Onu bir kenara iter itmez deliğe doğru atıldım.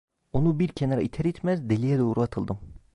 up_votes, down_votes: 2, 0